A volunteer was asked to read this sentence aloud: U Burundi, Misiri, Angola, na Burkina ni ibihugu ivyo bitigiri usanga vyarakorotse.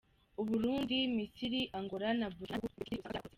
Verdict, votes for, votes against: rejected, 0, 2